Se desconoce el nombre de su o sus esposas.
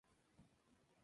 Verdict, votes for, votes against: rejected, 0, 2